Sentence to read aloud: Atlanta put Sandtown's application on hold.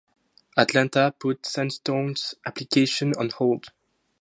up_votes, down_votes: 2, 0